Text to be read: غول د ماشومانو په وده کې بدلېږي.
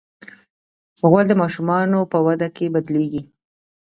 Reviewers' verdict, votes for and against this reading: rejected, 0, 2